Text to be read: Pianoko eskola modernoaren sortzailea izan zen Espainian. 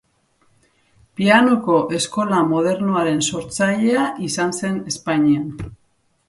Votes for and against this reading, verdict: 2, 0, accepted